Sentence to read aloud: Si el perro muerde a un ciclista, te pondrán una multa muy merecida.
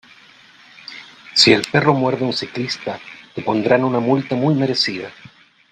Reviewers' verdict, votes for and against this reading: rejected, 1, 2